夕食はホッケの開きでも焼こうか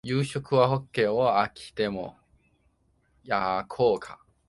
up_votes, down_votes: 0, 2